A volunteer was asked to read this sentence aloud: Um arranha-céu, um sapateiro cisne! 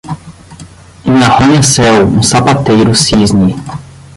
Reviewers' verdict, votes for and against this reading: rejected, 5, 10